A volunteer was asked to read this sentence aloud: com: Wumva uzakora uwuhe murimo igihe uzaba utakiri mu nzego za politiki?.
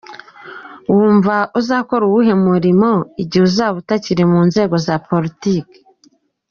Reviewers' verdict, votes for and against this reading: rejected, 0, 2